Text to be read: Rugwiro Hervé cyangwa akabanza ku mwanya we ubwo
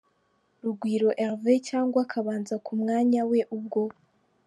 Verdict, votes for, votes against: accepted, 2, 0